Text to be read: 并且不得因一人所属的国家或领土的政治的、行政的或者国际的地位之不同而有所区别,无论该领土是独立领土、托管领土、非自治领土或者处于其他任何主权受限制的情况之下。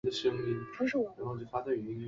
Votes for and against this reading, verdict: 0, 4, rejected